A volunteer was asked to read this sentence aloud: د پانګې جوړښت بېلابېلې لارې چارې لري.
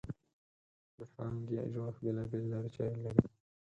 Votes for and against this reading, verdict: 4, 0, accepted